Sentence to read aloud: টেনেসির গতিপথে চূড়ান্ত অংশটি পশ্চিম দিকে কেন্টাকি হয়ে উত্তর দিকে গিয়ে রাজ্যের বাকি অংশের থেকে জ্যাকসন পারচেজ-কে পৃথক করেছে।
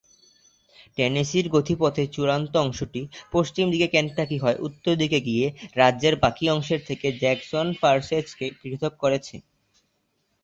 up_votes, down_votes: 0, 2